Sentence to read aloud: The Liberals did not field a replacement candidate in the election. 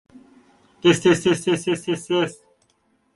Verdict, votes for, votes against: rejected, 0, 2